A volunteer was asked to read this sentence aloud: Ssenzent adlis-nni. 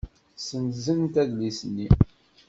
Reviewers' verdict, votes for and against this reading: accepted, 2, 0